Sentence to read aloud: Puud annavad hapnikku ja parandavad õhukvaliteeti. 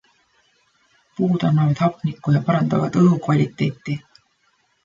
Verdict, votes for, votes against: accepted, 2, 1